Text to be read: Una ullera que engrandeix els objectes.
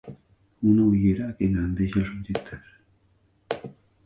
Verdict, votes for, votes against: rejected, 1, 2